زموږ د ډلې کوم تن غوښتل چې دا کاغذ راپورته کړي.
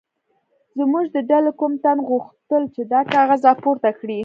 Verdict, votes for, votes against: rejected, 1, 2